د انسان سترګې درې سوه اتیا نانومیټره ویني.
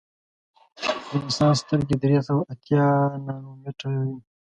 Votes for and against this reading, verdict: 0, 2, rejected